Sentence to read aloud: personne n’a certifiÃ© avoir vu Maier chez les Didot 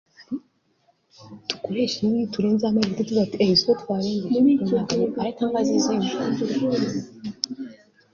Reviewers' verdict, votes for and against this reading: rejected, 0, 2